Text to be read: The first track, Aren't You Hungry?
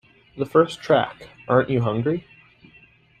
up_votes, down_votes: 2, 0